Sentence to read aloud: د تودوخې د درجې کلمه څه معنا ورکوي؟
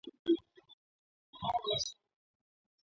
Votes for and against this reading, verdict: 1, 2, rejected